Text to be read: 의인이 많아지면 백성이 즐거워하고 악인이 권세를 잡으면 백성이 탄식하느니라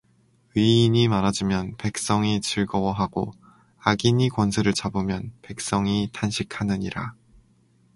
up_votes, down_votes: 4, 0